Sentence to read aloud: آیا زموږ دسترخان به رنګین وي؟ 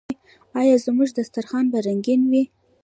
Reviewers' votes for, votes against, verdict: 2, 0, accepted